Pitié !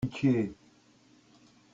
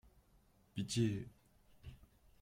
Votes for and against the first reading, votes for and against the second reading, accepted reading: 1, 2, 2, 0, second